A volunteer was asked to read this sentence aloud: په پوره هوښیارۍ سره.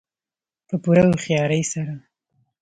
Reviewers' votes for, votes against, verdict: 2, 0, accepted